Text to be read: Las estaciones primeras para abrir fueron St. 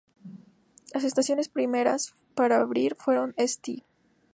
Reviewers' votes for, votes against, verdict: 2, 0, accepted